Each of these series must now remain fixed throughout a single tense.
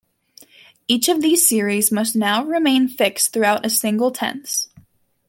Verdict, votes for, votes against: accepted, 2, 0